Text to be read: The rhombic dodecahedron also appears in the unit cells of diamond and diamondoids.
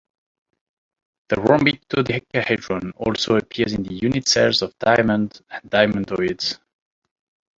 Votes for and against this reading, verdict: 2, 0, accepted